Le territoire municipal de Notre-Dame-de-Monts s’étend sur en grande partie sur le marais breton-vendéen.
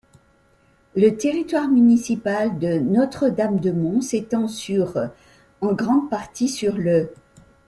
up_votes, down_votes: 0, 2